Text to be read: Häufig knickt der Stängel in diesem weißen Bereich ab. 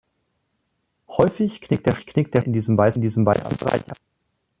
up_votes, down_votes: 0, 2